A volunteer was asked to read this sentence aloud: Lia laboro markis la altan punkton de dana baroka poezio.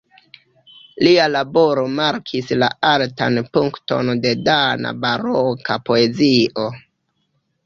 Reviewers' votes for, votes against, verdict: 2, 1, accepted